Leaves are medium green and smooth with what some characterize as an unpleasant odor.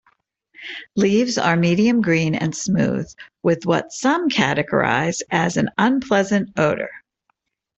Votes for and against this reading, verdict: 1, 2, rejected